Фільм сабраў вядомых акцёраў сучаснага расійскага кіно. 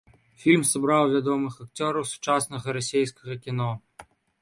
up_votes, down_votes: 2, 3